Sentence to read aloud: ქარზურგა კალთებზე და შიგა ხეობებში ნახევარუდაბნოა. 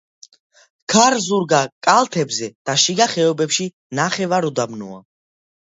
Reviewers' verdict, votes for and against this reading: accepted, 2, 0